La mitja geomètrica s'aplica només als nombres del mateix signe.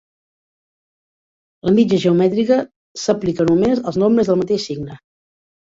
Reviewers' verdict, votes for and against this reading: accepted, 4, 2